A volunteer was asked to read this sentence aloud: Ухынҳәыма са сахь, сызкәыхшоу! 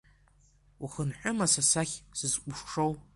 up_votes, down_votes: 1, 2